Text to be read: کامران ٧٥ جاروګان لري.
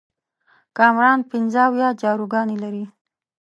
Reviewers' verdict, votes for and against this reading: rejected, 0, 2